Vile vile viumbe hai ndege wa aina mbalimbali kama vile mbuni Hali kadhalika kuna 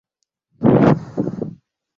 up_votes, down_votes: 0, 2